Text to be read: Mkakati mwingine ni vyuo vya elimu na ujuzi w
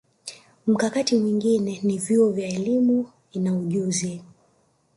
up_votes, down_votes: 0, 2